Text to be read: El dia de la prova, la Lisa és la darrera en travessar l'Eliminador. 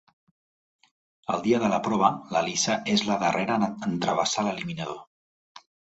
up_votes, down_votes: 1, 2